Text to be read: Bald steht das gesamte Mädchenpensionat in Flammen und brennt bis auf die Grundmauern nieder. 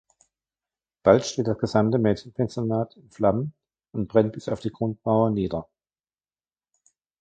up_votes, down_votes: 1, 2